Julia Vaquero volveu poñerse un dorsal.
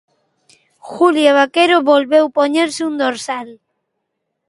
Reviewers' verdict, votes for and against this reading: accepted, 2, 0